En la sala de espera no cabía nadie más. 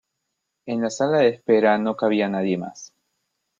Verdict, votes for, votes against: accepted, 2, 0